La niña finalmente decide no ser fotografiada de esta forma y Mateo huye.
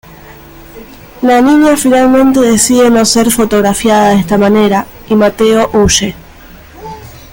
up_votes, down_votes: 0, 2